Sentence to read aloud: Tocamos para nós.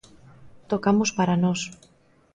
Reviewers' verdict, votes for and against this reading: accepted, 2, 0